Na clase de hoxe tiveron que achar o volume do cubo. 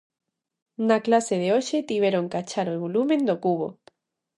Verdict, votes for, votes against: rejected, 0, 2